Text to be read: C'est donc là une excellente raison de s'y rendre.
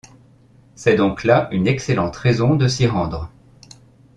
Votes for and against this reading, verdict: 2, 0, accepted